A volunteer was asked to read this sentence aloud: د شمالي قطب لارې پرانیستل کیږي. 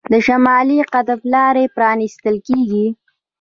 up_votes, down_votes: 2, 1